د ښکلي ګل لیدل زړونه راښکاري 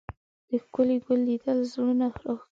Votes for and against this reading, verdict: 1, 2, rejected